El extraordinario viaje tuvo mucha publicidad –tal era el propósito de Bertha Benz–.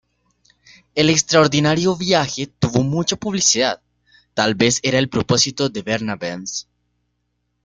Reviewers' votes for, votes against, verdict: 1, 2, rejected